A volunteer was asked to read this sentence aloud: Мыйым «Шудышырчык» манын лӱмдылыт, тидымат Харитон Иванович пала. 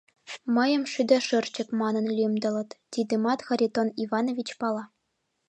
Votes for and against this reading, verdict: 0, 2, rejected